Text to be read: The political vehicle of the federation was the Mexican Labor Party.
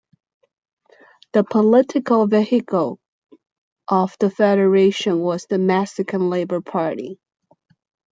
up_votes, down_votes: 1, 2